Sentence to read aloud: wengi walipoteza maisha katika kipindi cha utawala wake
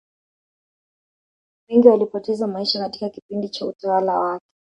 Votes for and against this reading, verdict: 1, 2, rejected